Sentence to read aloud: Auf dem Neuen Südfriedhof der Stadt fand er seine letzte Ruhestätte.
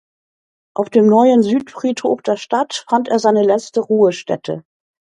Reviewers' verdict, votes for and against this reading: accepted, 2, 0